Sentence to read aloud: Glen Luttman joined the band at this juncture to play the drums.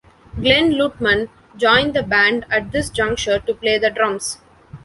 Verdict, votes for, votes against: accepted, 2, 0